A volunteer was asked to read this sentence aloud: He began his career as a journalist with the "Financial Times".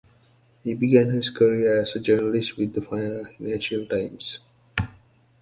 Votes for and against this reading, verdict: 0, 2, rejected